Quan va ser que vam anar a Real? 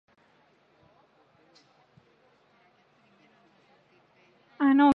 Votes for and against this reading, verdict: 1, 4, rejected